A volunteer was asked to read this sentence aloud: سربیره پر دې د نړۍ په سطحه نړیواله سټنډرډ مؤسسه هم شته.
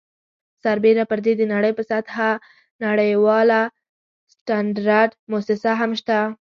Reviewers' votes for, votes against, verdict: 0, 2, rejected